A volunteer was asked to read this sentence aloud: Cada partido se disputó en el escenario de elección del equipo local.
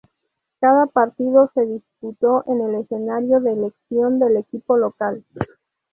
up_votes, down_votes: 0, 2